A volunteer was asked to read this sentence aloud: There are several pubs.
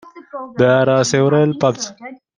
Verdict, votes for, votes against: rejected, 0, 2